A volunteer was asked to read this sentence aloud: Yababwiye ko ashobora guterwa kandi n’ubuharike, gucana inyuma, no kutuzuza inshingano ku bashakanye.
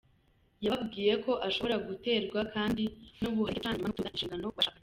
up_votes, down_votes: 0, 2